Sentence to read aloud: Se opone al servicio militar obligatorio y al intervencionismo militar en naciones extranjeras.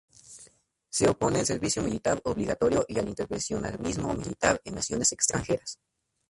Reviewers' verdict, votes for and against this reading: accepted, 2, 0